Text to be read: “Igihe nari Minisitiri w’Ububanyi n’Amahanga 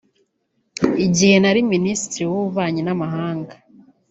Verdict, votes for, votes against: rejected, 0, 2